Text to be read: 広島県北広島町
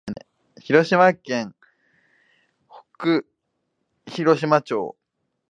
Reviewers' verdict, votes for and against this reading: rejected, 0, 2